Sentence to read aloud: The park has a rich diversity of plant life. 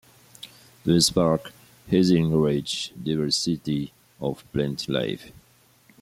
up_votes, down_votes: 2, 0